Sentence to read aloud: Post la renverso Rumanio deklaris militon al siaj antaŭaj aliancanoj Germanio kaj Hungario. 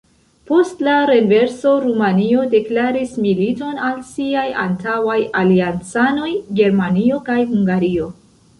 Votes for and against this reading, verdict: 0, 2, rejected